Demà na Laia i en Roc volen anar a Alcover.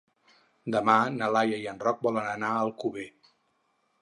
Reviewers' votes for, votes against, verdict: 4, 0, accepted